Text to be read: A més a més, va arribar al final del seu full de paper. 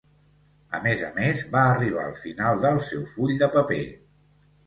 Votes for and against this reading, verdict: 2, 0, accepted